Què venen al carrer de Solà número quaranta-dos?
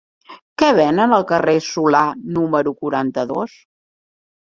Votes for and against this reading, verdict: 0, 2, rejected